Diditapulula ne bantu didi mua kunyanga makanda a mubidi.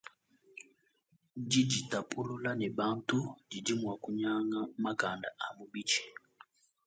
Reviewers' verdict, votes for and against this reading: accepted, 2, 0